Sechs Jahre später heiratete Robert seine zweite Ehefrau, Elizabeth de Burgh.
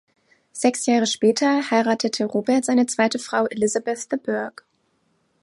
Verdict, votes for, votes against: rejected, 1, 2